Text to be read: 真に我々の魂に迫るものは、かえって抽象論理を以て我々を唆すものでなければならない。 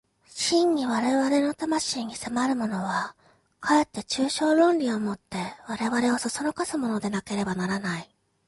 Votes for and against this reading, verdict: 2, 1, accepted